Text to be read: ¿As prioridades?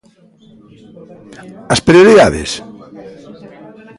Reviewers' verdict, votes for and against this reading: accepted, 2, 1